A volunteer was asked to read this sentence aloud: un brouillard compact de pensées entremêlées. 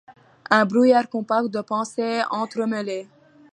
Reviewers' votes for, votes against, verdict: 2, 0, accepted